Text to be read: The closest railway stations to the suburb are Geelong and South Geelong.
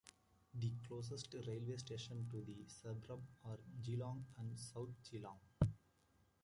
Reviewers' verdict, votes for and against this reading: accepted, 2, 1